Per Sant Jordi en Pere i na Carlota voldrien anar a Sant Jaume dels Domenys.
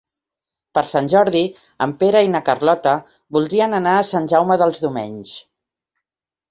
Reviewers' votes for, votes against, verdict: 2, 0, accepted